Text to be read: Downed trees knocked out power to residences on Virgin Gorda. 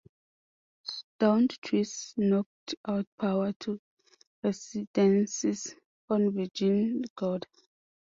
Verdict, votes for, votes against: rejected, 0, 2